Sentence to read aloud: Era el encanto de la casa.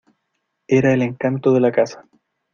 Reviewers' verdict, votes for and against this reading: accepted, 2, 0